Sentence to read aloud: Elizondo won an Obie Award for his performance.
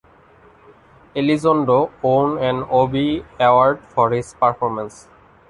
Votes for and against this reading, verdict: 0, 2, rejected